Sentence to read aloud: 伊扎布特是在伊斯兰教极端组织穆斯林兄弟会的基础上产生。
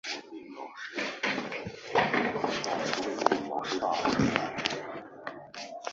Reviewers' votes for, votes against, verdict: 2, 4, rejected